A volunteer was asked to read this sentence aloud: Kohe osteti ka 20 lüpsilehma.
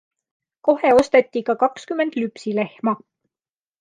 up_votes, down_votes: 0, 2